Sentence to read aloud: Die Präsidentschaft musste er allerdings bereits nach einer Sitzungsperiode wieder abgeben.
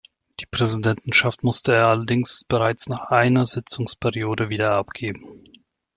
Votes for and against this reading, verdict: 0, 2, rejected